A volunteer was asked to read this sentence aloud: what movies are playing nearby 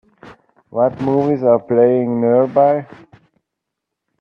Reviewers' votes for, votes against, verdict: 2, 0, accepted